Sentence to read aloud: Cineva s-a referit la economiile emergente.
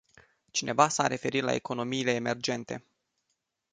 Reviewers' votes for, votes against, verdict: 2, 0, accepted